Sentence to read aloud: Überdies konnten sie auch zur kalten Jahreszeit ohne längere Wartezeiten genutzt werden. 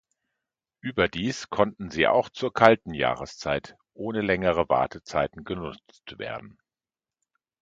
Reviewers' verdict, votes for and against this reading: rejected, 0, 2